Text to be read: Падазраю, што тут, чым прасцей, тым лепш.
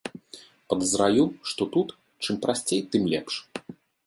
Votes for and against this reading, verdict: 2, 0, accepted